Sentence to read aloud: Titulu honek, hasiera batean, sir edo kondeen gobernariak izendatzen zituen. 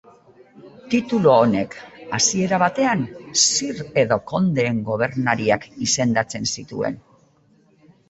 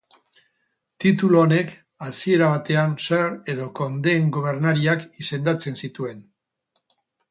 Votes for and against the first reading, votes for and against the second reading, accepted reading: 2, 1, 0, 2, first